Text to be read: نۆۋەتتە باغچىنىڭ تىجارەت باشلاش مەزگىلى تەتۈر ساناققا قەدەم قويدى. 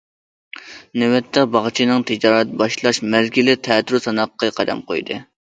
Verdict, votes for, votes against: accepted, 2, 1